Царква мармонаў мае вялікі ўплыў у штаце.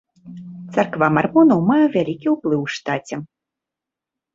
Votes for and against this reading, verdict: 2, 0, accepted